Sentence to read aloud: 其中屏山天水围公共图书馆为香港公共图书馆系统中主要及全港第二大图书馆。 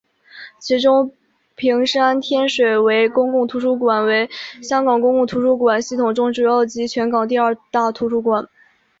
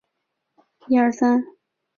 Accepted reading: first